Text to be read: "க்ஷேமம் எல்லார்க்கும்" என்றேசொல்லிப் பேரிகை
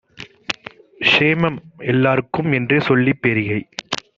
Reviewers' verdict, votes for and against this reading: accepted, 2, 0